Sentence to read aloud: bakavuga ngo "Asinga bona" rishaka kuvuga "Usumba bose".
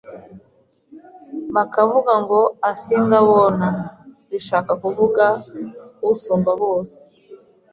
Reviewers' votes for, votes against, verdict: 2, 0, accepted